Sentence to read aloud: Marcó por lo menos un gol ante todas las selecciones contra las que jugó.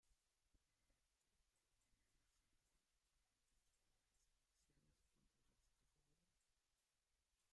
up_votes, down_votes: 0, 2